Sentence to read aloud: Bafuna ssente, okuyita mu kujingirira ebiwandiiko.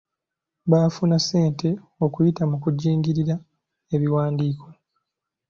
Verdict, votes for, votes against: accepted, 2, 1